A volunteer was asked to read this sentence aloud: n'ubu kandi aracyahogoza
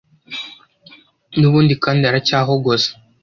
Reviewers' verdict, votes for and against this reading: rejected, 0, 2